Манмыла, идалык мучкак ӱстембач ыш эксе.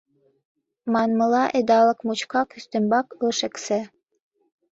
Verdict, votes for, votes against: rejected, 1, 2